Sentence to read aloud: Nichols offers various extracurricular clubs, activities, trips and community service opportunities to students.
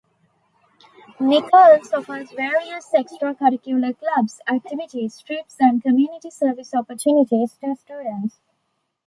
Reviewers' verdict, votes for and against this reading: accepted, 2, 0